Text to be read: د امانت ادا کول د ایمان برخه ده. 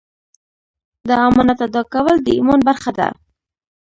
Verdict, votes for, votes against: rejected, 1, 2